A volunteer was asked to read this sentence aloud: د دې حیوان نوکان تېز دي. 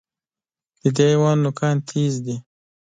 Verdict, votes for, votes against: accepted, 2, 0